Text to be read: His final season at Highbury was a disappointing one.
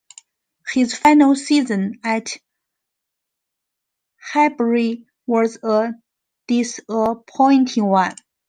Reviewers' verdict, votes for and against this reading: rejected, 1, 2